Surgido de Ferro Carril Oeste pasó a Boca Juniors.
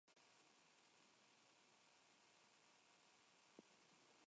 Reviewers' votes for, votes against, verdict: 0, 2, rejected